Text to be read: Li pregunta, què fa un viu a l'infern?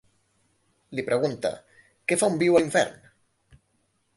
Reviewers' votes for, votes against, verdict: 2, 0, accepted